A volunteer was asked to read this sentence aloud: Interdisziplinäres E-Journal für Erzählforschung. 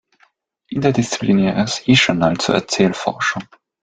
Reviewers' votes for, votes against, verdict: 1, 2, rejected